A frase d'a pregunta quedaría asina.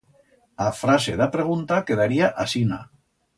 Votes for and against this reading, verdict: 2, 0, accepted